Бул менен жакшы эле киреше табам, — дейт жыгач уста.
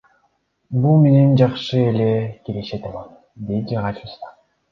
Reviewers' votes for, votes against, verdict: 1, 2, rejected